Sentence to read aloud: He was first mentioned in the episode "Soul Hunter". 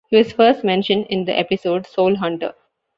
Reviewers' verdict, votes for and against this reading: accepted, 2, 0